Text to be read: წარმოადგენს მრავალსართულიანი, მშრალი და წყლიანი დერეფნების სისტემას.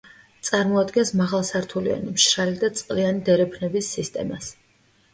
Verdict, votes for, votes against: rejected, 1, 2